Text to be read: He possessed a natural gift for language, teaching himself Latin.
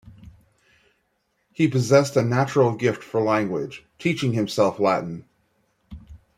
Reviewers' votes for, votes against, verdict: 2, 0, accepted